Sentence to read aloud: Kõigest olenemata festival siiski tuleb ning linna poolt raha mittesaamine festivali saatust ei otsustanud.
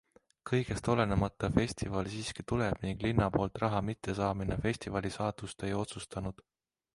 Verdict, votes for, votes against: accepted, 2, 0